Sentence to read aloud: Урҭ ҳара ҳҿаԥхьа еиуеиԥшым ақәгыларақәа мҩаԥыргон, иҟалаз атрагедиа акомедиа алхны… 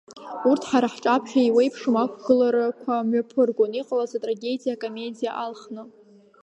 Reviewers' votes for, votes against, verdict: 2, 1, accepted